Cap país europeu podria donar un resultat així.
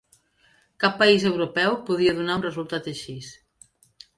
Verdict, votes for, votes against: accepted, 2, 0